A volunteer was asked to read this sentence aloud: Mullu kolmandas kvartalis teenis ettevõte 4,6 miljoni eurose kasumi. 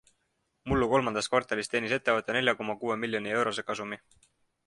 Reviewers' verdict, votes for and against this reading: rejected, 0, 2